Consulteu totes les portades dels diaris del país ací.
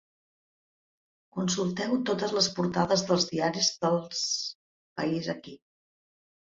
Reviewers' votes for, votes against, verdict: 0, 2, rejected